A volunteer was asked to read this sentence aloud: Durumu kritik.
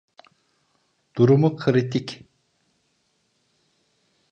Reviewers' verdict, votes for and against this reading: accepted, 2, 0